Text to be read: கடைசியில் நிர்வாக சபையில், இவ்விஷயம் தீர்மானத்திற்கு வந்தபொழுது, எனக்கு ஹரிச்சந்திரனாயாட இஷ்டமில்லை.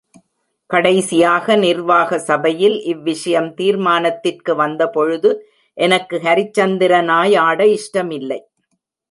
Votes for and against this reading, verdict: 1, 2, rejected